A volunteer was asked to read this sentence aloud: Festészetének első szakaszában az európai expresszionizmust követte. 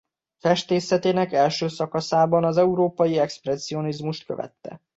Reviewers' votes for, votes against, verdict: 2, 0, accepted